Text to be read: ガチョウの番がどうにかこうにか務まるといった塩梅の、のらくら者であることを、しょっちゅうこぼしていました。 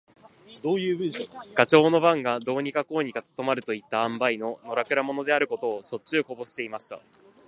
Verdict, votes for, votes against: accepted, 5, 1